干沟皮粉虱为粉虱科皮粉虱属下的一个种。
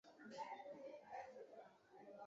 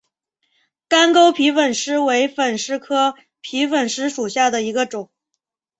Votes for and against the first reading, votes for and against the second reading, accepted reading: 0, 3, 3, 0, second